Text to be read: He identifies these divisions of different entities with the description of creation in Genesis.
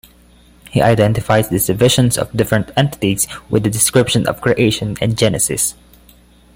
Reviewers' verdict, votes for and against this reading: accepted, 2, 0